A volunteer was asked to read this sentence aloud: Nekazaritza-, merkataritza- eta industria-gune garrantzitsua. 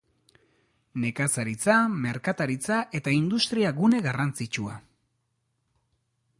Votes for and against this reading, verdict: 2, 0, accepted